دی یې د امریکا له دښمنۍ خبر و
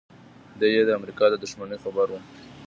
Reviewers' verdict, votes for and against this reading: accepted, 2, 0